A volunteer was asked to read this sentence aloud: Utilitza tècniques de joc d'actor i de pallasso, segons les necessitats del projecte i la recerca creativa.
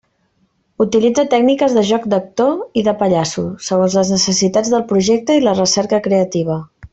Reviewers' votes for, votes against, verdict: 2, 0, accepted